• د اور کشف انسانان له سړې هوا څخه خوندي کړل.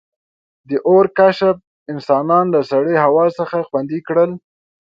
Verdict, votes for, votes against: accepted, 2, 0